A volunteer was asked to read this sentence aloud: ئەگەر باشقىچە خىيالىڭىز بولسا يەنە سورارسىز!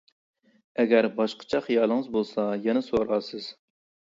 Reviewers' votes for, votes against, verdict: 2, 1, accepted